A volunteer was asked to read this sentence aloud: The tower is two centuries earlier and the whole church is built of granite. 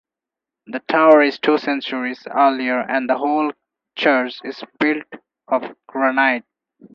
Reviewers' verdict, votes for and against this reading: accepted, 4, 0